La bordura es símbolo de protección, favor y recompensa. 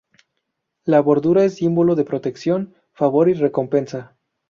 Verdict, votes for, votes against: rejected, 0, 2